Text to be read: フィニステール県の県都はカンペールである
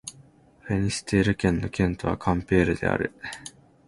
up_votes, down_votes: 2, 0